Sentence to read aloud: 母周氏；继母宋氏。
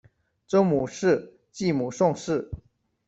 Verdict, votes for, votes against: rejected, 0, 2